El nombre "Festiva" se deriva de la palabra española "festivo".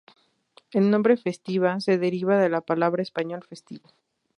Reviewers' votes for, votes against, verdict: 2, 2, rejected